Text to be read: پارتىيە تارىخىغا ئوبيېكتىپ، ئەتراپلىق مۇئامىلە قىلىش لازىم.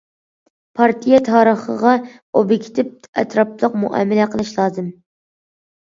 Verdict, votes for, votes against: accepted, 2, 0